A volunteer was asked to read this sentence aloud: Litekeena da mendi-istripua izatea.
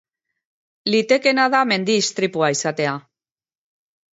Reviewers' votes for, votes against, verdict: 2, 0, accepted